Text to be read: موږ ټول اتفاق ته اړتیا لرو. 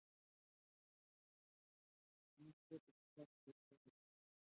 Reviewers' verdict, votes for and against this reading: rejected, 0, 5